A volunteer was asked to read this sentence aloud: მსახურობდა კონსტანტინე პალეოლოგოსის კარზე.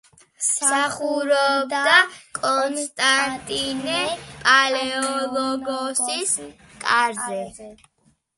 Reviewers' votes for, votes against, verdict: 2, 0, accepted